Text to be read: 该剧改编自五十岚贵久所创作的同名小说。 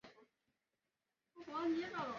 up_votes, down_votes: 0, 2